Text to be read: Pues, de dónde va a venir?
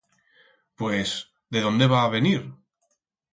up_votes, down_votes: 4, 0